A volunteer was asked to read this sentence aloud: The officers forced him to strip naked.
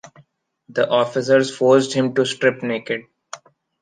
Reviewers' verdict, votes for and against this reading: accepted, 2, 1